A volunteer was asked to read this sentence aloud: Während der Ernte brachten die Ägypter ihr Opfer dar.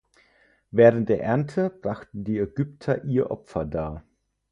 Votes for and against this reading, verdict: 4, 0, accepted